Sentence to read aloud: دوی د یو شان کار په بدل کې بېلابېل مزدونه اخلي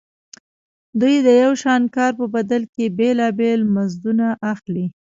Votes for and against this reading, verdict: 2, 1, accepted